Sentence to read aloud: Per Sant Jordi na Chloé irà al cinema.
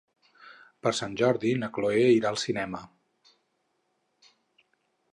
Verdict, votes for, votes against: accepted, 6, 0